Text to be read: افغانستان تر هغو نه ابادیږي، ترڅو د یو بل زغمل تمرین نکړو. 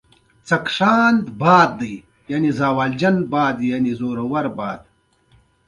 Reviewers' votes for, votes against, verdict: 1, 2, rejected